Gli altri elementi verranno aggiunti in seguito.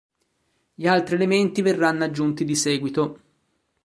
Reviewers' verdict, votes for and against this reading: rejected, 1, 2